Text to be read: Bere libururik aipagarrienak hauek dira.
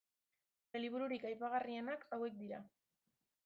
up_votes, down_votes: 1, 2